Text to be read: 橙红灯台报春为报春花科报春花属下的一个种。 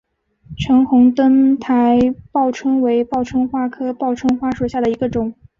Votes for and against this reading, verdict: 2, 0, accepted